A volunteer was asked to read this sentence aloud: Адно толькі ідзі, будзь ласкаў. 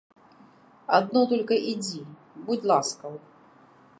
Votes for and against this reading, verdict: 1, 2, rejected